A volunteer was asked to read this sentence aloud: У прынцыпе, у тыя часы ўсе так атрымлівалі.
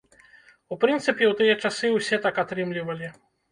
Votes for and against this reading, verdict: 2, 0, accepted